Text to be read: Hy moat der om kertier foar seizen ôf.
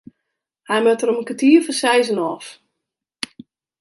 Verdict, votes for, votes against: rejected, 0, 2